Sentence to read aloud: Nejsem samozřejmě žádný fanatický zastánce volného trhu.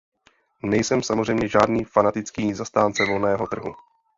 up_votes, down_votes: 1, 2